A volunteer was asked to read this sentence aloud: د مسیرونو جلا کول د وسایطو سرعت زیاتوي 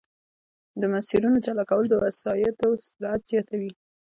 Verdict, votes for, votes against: rejected, 1, 2